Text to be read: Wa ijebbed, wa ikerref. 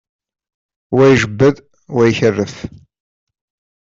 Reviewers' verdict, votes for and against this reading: accepted, 2, 0